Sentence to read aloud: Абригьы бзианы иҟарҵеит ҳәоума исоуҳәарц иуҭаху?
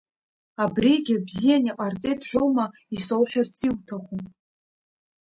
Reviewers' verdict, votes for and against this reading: accepted, 2, 0